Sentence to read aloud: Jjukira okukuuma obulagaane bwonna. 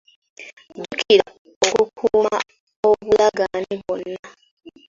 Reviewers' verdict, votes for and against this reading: accepted, 2, 1